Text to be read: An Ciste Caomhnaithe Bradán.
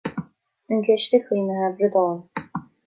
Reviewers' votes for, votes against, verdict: 2, 0, accepted